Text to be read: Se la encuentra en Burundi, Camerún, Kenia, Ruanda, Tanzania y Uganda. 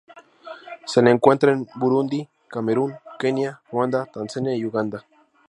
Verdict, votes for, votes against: rejected, 2, 2